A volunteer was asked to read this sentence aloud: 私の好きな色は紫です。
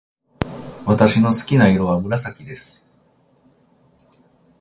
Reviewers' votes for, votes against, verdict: 2, 0, accepted